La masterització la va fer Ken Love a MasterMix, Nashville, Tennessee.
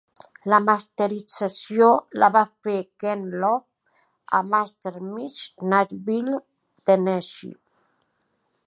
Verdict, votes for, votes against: accepted, 2, 1